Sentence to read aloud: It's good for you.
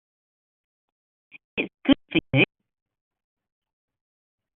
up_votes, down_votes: 0, 2